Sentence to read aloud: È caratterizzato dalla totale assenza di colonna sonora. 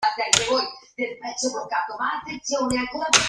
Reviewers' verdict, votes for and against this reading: rejected, 0, 2